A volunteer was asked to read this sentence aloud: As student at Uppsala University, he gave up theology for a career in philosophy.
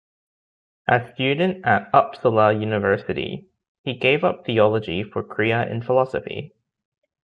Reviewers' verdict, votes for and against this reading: rejected, 0, 2